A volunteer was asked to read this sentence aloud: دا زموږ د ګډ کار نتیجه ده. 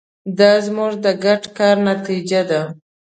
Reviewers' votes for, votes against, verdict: 2, 0, accepted